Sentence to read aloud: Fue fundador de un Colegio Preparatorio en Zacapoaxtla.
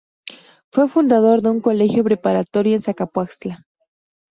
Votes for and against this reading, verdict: 2, 0, accepted